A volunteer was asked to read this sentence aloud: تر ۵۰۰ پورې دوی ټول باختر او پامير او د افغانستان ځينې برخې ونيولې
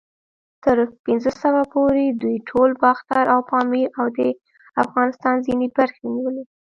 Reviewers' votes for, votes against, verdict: 0, 2, rejected